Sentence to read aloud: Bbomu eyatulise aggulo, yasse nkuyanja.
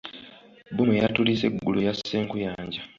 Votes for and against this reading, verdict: 2, 1, accepted